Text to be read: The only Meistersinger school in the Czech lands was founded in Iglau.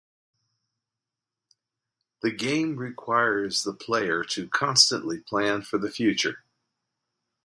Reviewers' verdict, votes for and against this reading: rejected, 0, 2